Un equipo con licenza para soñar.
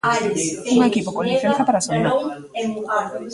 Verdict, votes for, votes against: rejected, 0, 2